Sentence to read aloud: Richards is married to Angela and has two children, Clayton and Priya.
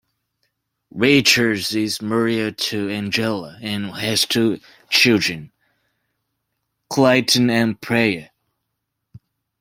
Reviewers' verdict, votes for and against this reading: rejected, 0, 2